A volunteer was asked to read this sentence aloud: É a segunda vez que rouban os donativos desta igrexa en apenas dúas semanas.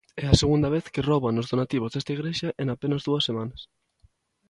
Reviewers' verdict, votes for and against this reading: accepted, 2, 0